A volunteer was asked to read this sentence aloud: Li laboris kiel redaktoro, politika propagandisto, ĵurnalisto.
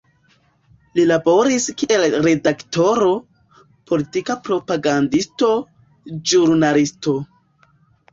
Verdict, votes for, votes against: rejected, 0, 2